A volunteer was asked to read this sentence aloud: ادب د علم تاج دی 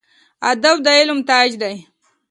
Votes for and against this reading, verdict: 2, 0, accepted